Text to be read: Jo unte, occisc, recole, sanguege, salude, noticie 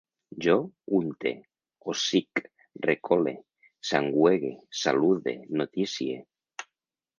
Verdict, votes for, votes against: rejected, 1, 2